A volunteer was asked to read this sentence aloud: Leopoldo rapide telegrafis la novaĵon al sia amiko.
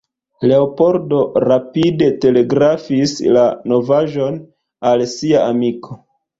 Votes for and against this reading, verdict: 2, 1, accepted